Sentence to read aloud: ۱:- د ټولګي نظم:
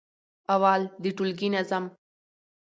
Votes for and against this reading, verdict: 0, 2, rejected